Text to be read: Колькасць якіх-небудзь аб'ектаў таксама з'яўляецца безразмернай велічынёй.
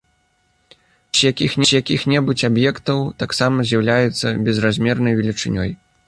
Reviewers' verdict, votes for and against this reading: rejected, 0, 2